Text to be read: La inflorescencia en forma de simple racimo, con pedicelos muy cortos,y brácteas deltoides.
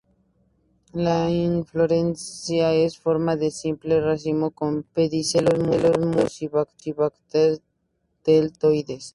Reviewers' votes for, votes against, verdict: 0, 2, rejected